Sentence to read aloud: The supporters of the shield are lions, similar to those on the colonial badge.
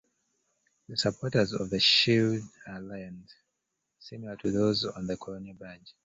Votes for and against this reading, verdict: 1, 2, rejected